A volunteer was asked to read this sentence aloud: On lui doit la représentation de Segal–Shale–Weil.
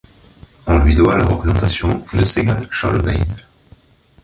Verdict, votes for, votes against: accepted, 2, 1